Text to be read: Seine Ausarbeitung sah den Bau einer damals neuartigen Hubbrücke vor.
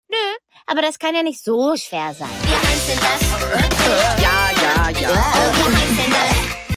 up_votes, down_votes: 0, 2